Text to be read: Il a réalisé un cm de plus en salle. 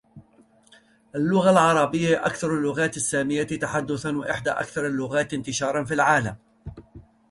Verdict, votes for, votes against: rejected, 1, 2